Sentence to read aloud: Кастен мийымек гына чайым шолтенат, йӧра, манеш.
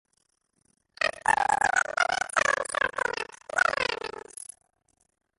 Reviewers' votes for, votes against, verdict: 0, 2, rejected